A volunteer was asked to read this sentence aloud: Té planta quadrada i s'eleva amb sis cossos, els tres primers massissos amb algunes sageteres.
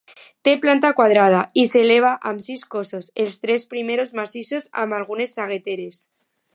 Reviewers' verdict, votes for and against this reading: rejected, 0, 2